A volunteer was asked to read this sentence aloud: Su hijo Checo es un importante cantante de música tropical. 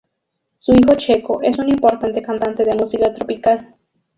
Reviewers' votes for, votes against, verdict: 2, 2, rejected